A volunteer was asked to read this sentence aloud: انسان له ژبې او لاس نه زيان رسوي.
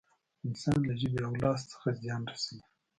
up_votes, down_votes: 0, 2